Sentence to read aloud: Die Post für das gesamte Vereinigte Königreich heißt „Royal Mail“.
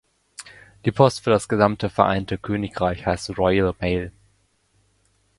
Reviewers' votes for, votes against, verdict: 0, 2, rejected